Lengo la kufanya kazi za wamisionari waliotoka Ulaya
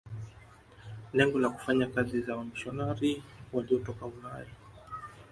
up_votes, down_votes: 3, 2